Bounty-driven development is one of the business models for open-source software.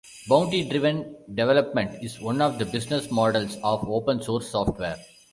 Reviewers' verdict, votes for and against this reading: rejected, 0, 2